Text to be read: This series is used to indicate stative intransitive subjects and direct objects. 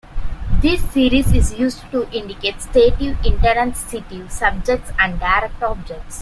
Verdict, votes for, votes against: rejected, 1, 2